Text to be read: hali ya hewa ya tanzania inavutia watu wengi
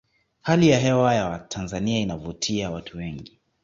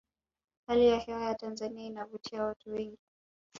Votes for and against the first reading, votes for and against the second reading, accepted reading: 2, 0, 0, 2, first